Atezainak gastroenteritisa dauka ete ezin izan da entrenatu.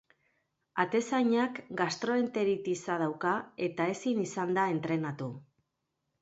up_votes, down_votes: 3, 0